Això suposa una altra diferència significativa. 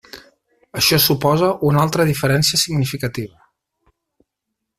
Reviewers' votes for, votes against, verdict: 6, 0, accepted